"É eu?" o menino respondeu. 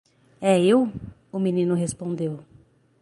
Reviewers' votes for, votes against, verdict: 3, 0, accepted